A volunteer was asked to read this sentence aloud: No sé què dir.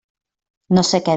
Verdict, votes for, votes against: rejected, 0, 2